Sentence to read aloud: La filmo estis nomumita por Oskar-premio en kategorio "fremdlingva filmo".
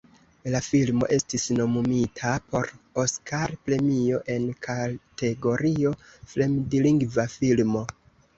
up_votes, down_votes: 2, 1